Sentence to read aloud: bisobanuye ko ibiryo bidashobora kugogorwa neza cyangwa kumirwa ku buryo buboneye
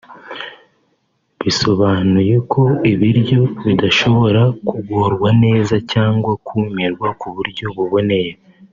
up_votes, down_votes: 2, 4